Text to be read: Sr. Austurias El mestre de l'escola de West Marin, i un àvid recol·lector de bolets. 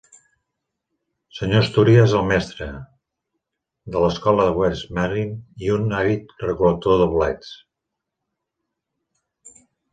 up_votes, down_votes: 1, 2